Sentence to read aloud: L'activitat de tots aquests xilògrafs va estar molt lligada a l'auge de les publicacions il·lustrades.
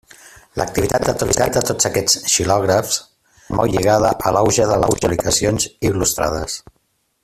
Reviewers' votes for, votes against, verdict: 0, 2, rejected